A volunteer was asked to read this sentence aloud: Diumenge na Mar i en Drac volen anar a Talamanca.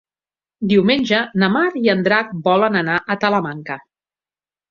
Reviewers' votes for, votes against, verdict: 5, 0, accepted